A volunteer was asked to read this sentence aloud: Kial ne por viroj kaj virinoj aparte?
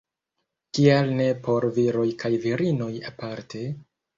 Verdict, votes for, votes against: rejected, 0, 2